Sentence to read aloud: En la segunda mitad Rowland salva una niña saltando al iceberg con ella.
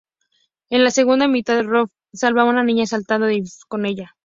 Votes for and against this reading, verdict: 0, 2, rejected